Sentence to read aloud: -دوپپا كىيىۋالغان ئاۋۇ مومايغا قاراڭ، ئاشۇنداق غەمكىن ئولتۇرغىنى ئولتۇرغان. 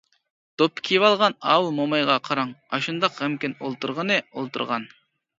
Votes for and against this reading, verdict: 2, 0, accepted